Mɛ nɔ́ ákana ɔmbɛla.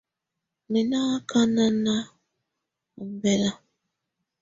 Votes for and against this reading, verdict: 2, 0, accepted